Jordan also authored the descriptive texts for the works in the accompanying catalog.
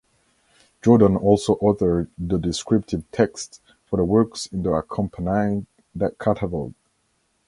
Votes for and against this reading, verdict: 2, 1, accepted